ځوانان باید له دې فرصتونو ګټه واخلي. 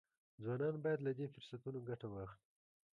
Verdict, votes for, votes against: rejected, 1, 2